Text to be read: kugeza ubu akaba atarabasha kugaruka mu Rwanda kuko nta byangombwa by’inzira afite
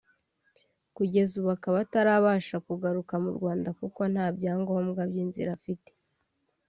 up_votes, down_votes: 2, 0